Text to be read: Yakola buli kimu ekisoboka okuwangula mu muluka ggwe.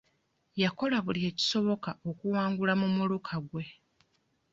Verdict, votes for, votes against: rejected, 0, 2